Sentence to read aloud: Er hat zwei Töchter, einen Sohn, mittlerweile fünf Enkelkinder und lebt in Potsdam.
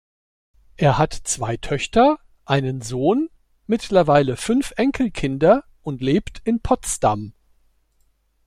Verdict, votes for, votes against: accepted, 2, 0